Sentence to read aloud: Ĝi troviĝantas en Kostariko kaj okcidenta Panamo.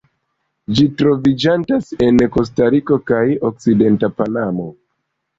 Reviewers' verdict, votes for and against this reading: accepted, 2, 0